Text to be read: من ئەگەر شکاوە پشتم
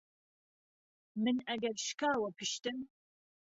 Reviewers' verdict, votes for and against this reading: accepted, 2, 0